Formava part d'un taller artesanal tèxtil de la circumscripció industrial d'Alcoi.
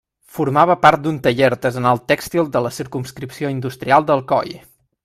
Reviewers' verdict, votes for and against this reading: accepted, 2, 0